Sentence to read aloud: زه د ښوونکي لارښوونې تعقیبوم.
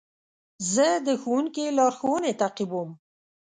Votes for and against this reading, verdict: 2, 0, accepted